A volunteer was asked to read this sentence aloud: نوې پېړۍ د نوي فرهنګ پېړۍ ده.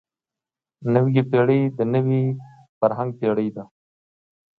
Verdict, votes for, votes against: accepted, 2, 0